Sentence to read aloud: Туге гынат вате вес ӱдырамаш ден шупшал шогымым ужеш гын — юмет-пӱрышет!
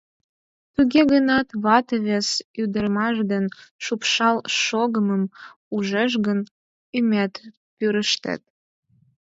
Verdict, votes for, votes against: rejected, 0, 10